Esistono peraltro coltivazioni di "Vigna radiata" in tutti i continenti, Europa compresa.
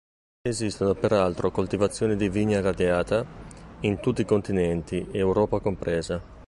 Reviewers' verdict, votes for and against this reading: accepted, 2, 1